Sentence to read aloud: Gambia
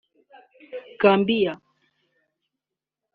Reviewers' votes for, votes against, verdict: 2, 0, accepted